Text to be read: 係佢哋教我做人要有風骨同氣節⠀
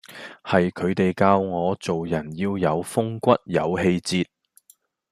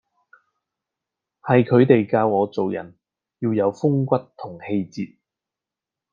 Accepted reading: second